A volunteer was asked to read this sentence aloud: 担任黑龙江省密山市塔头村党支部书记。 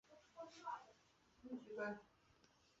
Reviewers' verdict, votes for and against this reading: rejected, 0, 2